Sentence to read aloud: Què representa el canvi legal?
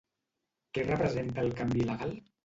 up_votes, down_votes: 0, 2